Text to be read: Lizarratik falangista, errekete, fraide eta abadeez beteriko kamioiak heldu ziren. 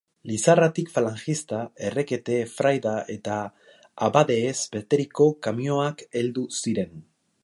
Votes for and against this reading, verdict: 1, 2, rejected